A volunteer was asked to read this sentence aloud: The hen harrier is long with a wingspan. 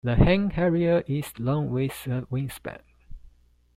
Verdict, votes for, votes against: rejected, 0, 2